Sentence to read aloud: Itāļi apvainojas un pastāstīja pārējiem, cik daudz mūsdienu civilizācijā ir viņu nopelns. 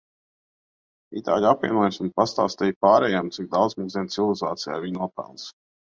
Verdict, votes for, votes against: rejected, 0, 2